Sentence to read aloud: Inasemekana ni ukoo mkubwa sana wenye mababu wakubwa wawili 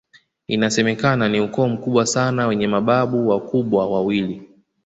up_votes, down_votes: 2, 0